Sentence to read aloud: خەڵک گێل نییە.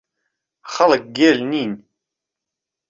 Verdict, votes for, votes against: rejected, 1, 2